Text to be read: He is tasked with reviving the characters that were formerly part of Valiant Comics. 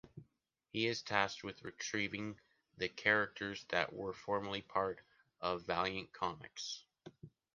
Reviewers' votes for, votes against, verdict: 0, 2, rejected